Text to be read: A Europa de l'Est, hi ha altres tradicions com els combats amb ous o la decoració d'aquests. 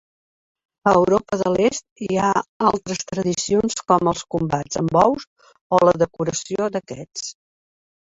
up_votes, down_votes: 2, 0